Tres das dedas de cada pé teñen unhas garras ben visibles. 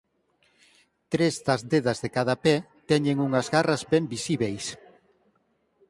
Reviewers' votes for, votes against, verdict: 2, 4, rejected